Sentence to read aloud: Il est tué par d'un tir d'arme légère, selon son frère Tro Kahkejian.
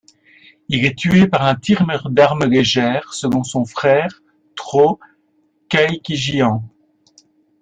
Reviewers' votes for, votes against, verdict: 0, 2, rejected